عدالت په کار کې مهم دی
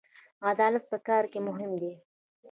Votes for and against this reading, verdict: 1, 2, rejected